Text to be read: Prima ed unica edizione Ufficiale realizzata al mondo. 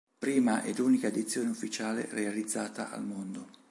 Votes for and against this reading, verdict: 2, 0, accepted